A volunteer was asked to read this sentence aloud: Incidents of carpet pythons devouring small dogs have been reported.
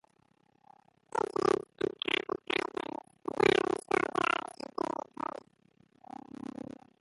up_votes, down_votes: 0, 2